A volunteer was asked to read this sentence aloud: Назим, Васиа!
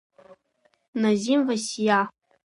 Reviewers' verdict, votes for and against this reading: rejected, 1, 2